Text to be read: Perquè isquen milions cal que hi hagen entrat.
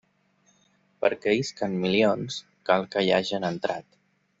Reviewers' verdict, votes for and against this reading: accepted, 2, 0